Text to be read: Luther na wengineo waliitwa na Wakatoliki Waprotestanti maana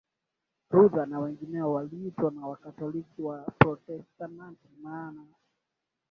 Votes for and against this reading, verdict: 2, 1, accepted